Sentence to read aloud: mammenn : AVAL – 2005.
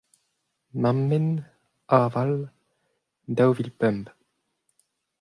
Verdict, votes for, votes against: rejected, 0, 2